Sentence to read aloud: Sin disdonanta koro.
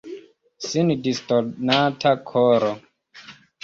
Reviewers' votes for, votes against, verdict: 2, 0, accepted